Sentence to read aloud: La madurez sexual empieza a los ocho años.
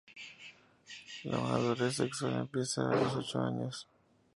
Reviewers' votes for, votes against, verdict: 4, 0, accepted